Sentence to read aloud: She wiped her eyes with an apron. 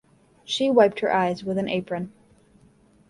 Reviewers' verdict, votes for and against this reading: accepted, 2, 0